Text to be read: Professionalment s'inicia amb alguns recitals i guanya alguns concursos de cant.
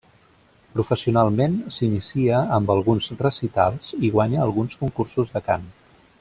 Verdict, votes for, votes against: rejected, 1, 2